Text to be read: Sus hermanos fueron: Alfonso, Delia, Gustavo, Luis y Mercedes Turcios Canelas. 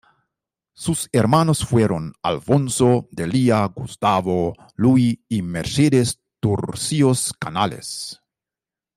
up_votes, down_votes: 2, 0